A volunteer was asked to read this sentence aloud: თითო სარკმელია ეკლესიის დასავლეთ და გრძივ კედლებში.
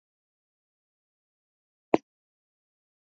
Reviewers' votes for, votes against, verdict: 0, 2, rejected